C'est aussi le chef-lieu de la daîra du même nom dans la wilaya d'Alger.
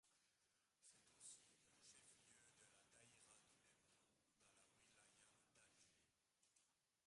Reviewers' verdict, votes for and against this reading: rejected, 0, 2